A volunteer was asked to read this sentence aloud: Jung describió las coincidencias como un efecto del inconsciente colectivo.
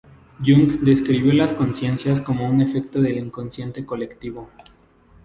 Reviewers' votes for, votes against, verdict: 2, 2, rejected